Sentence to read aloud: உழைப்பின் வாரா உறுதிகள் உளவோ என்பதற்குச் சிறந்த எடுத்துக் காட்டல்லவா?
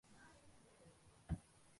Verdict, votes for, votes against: rejected, 0, 2